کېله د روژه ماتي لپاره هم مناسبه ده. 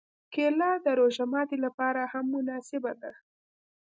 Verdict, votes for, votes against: accepted, 2, 0